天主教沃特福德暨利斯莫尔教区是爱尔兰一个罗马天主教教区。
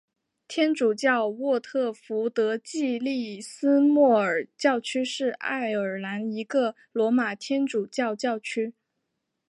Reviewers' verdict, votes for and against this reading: accepted, 4, 1